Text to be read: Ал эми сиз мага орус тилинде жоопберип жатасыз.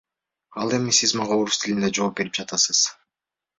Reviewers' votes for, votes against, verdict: 2, 0, accepted